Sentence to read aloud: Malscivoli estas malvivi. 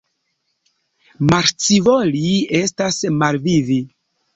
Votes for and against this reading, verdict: 2, 0, accepted